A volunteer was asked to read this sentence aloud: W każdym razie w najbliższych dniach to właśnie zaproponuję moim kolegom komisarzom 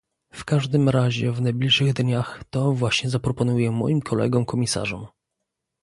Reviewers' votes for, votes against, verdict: 2, 0, accepted